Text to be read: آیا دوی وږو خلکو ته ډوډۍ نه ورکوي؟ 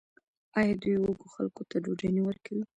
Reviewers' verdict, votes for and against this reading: rejected, 1, 2